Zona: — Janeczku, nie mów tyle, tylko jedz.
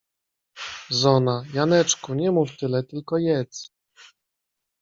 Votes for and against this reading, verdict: 2, 0, accepted